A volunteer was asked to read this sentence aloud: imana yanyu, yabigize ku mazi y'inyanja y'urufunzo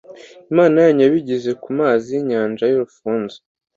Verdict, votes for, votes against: accepted, 2, 0